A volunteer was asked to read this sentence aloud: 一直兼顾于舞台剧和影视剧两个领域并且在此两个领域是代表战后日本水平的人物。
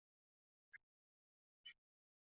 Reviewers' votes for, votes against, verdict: 6, 1, accepted